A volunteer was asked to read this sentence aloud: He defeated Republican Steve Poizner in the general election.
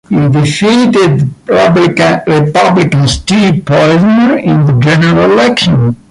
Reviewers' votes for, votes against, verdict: 0, 2, rejected